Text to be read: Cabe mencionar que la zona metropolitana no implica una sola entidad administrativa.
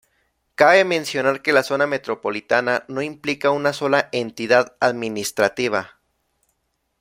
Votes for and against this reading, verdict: 2, 0, accepted